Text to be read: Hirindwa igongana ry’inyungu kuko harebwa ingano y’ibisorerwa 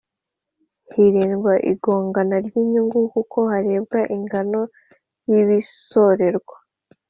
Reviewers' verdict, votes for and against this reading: accepted, 2, 0